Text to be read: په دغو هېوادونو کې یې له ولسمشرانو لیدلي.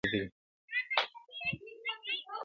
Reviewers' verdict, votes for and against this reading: accepted, 2, 1